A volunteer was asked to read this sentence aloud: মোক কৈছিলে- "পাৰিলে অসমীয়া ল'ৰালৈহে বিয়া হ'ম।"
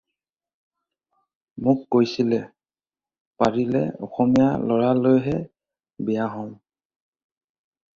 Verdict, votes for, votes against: accepted, 2, 0